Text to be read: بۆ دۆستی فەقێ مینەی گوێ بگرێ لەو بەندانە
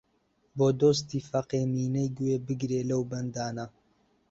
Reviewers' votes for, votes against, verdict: 2, 1, accepted